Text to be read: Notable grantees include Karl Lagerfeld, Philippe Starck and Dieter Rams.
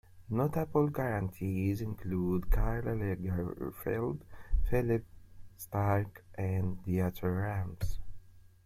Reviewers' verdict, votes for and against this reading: rejected, 1, 2